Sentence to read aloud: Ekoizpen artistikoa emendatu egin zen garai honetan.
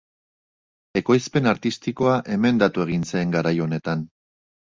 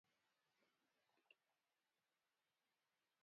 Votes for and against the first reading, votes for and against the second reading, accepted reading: 3, 0, 0, 4, first